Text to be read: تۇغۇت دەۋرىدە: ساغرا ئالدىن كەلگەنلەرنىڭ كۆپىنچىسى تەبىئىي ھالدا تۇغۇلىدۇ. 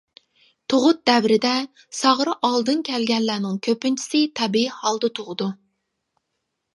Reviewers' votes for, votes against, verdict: 1, 2, rejected